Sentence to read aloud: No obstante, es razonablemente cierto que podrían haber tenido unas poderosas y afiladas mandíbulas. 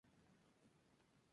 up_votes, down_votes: 2, 2